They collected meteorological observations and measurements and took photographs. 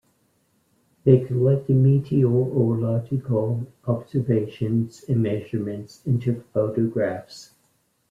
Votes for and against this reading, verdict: 2, 0, accepted